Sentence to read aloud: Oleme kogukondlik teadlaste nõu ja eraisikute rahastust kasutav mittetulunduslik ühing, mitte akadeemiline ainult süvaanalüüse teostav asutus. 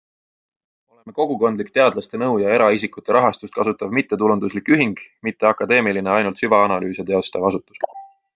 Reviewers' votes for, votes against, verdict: 2, 1, accepted